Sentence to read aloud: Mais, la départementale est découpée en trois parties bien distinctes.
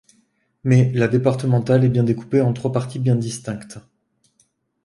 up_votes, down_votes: 0, 2